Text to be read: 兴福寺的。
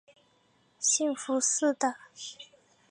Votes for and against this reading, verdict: 2, 0, accepted